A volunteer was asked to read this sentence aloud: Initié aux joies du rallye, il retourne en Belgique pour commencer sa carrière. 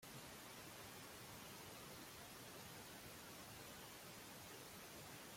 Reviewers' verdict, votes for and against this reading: rejected, 0, 2